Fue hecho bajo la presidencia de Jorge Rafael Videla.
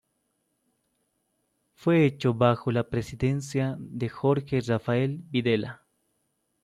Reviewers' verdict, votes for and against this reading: accepted, 2, 0